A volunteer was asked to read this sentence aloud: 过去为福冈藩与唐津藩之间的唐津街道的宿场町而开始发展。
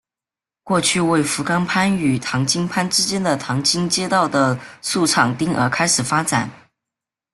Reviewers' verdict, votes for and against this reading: rejected, 1, 2